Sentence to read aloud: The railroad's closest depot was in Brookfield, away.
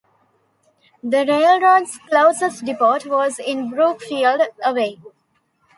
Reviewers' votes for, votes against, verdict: 0, 2, rejected